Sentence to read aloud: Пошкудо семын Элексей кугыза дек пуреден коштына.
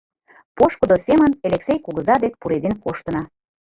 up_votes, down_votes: 2, 1